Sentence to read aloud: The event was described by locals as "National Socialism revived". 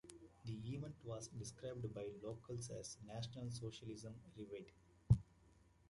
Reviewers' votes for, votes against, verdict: 2, 0, accepted